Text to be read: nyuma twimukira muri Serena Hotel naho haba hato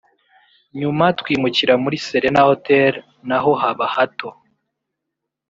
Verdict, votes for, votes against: rejected, 1, 2